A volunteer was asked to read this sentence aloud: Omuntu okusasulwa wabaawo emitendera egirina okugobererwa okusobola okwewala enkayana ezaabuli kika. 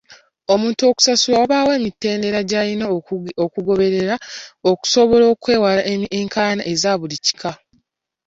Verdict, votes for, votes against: accepted, 2, 0